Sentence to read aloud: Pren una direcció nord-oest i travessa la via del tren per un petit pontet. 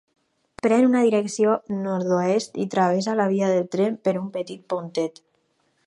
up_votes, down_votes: 4, 0